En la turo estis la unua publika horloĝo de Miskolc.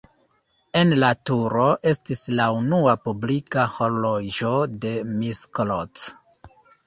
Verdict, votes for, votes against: rejected, 1, 2